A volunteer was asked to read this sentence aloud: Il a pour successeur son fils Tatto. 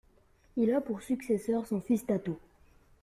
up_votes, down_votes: 2, 0